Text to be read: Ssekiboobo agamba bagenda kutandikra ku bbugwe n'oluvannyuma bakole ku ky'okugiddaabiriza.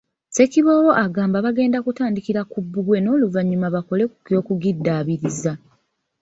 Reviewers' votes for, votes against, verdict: 2, 0, accepted